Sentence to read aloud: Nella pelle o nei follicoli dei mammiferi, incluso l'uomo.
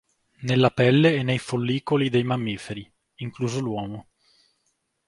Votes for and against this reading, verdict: 1, 2, rejected